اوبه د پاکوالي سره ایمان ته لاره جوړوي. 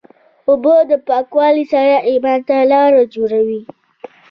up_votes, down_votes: 1, 2